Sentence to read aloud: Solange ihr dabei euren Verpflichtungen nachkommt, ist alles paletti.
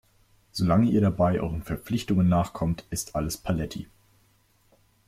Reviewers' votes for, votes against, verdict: 2, 0, accepted